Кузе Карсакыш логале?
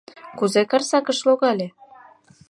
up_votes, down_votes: 2, 0